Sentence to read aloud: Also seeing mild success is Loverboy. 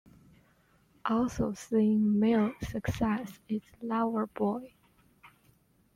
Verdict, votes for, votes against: rejected, 0, 2